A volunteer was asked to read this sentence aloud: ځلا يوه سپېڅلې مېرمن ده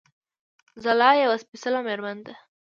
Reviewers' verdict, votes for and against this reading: accepted, 2, 0